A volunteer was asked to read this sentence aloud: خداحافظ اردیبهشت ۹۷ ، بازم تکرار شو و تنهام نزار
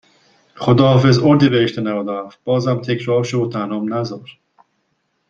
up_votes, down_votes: 0, 2